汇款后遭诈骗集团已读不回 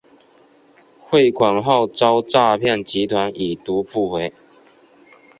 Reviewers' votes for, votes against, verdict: 2, 0, accepted